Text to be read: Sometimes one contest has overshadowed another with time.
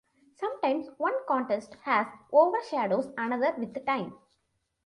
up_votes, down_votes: 0, 2